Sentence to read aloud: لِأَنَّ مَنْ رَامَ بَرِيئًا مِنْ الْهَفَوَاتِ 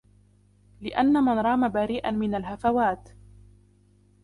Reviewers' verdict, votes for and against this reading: accepted, 2, 1